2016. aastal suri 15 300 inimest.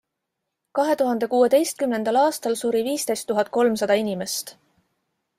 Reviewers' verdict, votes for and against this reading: rejected, 0, 2